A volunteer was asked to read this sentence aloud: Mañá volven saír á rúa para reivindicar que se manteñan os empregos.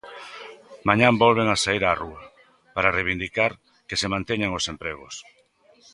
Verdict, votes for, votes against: rejected, 0, 2